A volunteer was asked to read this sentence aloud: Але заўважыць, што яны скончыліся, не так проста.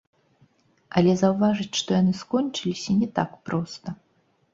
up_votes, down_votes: 1, 2